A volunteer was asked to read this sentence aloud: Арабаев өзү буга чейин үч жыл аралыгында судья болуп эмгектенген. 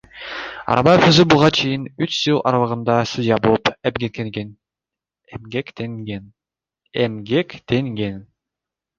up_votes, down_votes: 1, 2